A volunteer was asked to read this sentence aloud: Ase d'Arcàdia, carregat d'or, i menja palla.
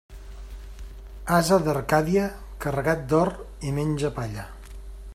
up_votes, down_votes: 2, 0